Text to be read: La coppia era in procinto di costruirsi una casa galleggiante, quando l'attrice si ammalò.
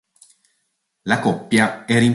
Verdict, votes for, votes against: rejected, 0, 2